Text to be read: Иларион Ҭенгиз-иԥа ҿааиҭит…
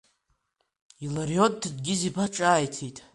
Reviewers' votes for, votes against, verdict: 2, 0, accepted